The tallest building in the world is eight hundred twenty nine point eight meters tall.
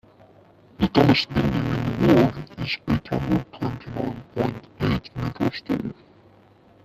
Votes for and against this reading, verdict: 1, 2, rejected